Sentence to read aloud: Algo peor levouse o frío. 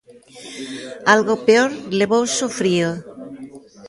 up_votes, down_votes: 2, 0